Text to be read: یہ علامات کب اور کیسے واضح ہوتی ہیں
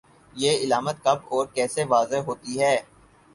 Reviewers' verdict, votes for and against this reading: accepted, 4, 2